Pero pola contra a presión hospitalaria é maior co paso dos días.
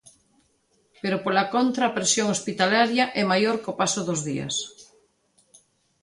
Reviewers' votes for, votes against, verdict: 2, 0, accepted